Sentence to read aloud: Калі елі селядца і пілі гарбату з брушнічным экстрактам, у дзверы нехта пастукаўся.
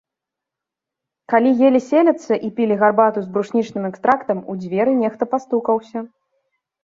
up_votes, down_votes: 2, 3